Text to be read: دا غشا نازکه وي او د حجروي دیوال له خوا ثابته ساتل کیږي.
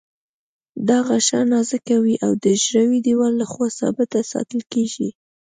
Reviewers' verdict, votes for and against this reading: accepted, 2, 0